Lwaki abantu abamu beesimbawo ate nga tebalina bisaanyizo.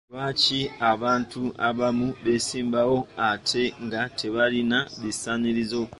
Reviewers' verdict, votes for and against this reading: rejected, 1, 2